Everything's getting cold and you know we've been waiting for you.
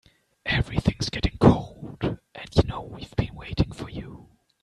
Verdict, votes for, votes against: rejected, 0, 2